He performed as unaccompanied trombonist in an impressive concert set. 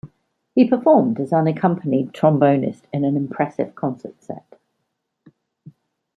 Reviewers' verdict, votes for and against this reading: accepted, 2, 0